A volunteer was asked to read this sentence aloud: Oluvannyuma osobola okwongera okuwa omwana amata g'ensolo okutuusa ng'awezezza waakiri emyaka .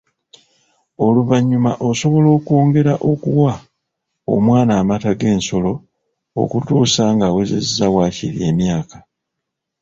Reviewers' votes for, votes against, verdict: 2, 1, accepted